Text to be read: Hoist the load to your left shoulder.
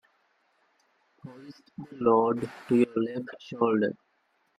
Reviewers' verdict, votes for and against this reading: rejected, 0, 2